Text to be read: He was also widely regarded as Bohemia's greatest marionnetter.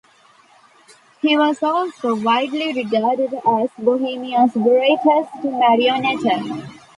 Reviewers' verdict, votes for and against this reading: accepted, 2, 0